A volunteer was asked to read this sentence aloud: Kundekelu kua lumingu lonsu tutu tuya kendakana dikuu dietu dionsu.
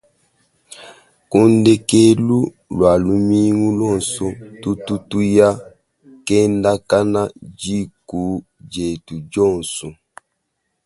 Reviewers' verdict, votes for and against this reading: rejected, 1, 2